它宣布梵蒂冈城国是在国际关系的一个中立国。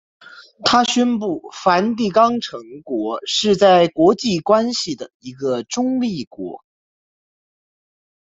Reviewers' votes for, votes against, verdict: 2, 0, accepted